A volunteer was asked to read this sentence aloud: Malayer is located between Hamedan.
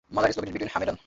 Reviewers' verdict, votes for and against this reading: rejected, 0, 2